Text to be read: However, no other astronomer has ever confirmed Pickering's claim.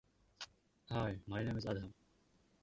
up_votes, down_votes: 0, 2